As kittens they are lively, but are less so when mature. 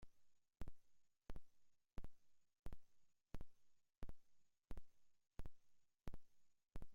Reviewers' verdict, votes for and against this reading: rejected, 0, 2